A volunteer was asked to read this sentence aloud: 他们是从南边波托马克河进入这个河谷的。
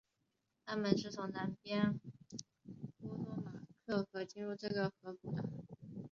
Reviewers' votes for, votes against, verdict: 1, 3, rejected